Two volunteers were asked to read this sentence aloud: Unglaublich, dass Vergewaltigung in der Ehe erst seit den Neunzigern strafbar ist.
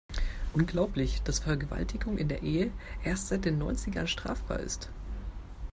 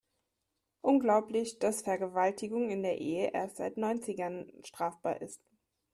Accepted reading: first